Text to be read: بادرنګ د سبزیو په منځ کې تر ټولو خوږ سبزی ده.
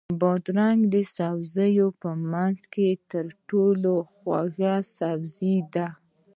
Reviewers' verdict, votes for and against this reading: accepted, 2, 0